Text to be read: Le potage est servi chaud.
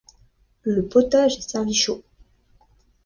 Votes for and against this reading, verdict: 2, 0, accepted